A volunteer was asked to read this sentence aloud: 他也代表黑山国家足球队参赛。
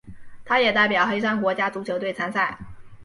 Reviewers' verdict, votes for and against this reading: accepted, 5, 0